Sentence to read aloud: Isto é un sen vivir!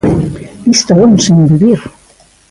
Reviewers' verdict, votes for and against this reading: rejected, 0, 2